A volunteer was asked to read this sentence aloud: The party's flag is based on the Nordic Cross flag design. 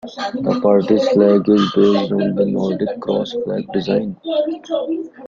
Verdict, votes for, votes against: rejected, 0, 2